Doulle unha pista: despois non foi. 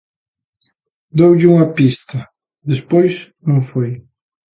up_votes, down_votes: 2, 0